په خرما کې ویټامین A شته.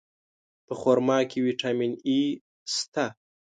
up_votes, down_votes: 1, 2